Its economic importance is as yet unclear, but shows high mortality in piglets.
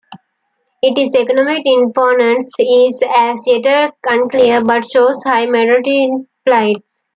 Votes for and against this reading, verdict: 0, 2, rejected